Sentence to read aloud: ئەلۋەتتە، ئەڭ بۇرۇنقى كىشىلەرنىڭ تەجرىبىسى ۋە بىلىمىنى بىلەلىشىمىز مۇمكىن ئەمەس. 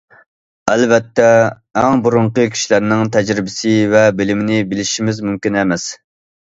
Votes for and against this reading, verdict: 1, 2, rejected